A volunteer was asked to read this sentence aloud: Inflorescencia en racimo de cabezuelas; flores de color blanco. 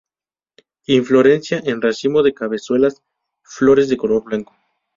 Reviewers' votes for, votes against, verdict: 0, 2, rejected